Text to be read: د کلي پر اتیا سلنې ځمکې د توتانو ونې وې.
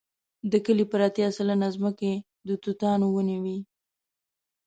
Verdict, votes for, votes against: accepted, 2, 0